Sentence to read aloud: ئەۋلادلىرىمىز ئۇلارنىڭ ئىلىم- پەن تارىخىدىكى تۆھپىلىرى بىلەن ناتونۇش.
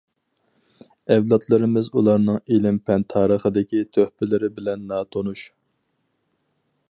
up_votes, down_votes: 4, 0